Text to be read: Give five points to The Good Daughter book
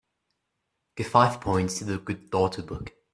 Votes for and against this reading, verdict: 3, 0, accepted